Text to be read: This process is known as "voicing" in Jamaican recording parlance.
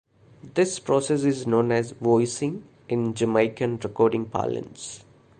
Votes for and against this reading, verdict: 2, 0, accepted